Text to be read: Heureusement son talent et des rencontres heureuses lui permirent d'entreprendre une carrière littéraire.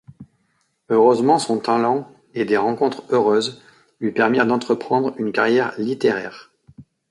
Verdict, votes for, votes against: accepted, 2, 0